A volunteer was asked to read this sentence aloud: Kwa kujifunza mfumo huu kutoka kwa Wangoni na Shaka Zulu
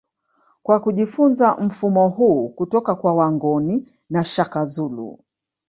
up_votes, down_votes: 1, 2